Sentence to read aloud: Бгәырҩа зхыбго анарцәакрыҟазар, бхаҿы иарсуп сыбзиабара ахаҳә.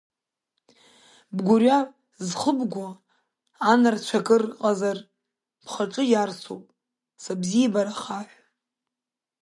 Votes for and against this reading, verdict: 0, 2, rejected